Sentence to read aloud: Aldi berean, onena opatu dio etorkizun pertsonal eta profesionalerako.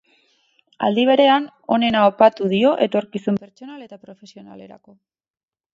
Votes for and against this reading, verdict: 4, 0, accepted